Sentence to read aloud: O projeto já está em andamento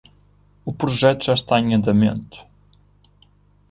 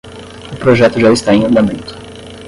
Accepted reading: first